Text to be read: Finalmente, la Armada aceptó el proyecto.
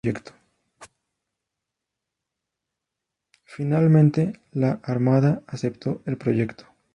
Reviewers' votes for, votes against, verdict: 0, 2, rejected